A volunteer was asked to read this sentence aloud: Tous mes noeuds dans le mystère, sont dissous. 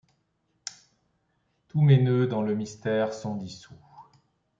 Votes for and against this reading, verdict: 2, 0, accepted